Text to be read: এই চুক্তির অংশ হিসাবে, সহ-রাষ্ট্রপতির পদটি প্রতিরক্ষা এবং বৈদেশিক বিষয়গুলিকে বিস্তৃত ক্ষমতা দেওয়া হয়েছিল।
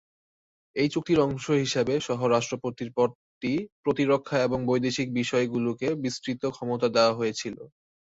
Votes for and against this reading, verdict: 3, 0, accepted